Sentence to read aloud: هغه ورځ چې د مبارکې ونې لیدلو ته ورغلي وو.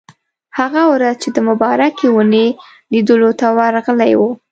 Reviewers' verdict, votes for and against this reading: rejected, 1, 2